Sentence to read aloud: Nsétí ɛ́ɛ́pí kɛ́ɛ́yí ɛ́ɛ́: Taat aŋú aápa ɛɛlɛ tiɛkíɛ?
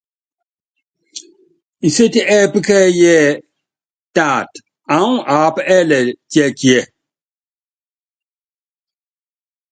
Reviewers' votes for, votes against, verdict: 2, 0, accepted